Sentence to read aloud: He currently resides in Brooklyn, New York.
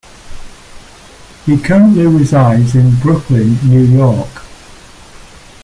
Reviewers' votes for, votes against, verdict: 2, 0, accepted